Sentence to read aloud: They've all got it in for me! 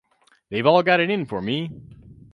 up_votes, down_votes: 4, 0